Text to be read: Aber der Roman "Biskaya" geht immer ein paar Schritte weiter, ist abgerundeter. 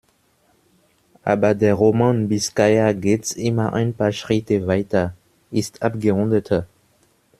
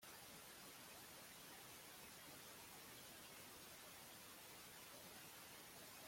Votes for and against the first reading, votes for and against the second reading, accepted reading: 2, 0, 0, 2, first